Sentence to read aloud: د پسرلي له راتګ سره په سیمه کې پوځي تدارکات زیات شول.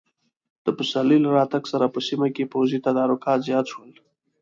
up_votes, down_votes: 2, 0